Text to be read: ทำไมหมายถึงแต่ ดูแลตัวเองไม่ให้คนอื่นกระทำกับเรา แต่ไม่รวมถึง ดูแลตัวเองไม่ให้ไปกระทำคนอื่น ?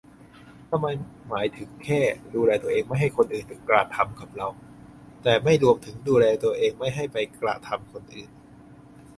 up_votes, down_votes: 0, 2